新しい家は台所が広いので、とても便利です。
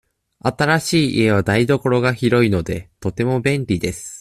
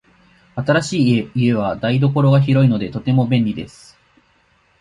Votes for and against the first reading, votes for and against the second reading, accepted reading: 2, 0, 1, 2, first